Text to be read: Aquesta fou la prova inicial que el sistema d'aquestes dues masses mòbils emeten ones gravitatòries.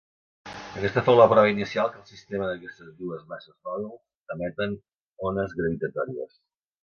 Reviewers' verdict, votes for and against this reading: rejected, 0, 2